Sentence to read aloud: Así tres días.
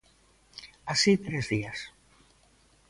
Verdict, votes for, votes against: accepted, 2, 0